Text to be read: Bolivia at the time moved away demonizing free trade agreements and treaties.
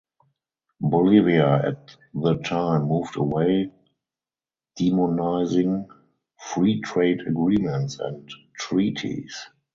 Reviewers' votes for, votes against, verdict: 2, 0, accepted